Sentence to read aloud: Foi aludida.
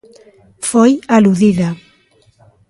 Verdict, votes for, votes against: rejected, 1, 2